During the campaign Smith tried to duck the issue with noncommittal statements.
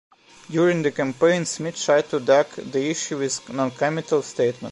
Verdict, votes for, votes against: rejected, 0, 2